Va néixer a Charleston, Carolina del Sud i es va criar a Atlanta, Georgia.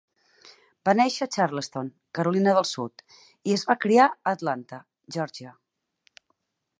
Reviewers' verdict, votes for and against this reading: accepted, 6, 0